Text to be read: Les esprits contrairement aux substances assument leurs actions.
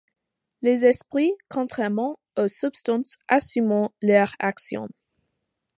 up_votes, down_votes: 2, 1